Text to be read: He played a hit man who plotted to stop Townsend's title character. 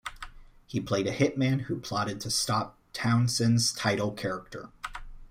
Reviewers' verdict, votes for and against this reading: accepted, 2, 0